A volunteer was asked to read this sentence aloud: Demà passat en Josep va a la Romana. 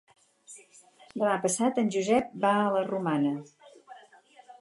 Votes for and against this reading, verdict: 2, 0, accepted